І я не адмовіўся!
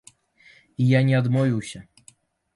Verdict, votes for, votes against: accepted, 2, 0